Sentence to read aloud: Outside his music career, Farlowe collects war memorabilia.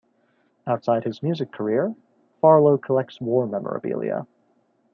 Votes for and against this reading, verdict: 2, 0, accepted